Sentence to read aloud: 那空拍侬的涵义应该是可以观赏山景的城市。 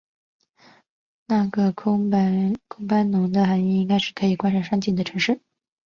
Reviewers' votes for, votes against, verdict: 2, 3, rejected